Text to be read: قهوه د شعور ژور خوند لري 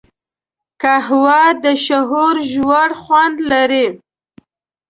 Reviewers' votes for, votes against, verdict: 0, 2, rejected